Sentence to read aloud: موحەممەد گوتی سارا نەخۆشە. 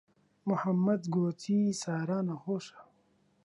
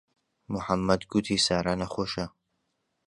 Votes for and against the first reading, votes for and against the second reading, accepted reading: 1, 2, 2, 0, second